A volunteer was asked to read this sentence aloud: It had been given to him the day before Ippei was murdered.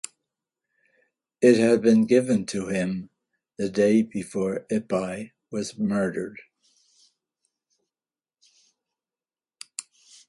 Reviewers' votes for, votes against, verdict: 2, 0, accepted